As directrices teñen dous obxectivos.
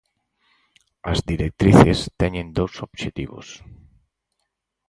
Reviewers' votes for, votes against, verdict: 4, 0, accepted